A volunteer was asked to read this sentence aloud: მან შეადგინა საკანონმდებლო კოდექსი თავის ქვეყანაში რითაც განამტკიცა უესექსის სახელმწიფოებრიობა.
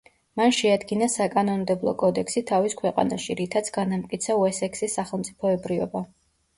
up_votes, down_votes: 2, 0